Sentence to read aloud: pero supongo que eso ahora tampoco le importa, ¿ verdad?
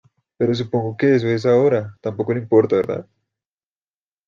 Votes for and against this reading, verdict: 0, 2, rejected